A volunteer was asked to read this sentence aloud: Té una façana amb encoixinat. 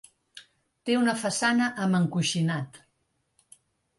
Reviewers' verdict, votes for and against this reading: accepted, 3, 0